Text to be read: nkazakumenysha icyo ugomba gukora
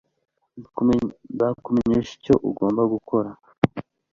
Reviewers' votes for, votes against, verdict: 0, 2, rejected